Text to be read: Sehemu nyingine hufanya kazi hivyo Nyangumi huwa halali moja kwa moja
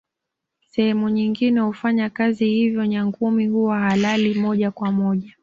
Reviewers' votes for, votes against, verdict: 2, 0, accepted